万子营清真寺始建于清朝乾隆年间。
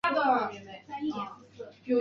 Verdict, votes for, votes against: rejected, 0, 4